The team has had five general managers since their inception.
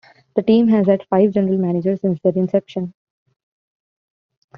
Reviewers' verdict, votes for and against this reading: rejected, 1, 2